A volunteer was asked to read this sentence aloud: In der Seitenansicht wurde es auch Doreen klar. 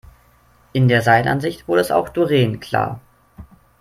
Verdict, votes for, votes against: rejected, 1, 2